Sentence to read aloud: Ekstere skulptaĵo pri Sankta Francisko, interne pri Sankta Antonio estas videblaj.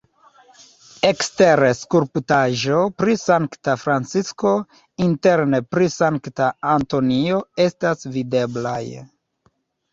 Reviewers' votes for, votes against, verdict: 0, 2, rejected